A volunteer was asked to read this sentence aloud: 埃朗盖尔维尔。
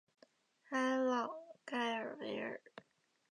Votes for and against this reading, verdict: 1, 2, rejected